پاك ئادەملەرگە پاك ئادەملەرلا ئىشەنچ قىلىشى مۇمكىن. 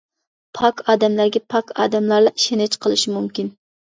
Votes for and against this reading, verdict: 1, 2, rejected